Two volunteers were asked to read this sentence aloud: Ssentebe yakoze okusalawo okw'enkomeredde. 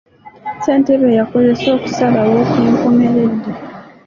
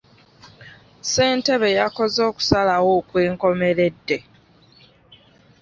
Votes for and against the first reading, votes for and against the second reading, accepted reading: 0, 2, 2, 0, second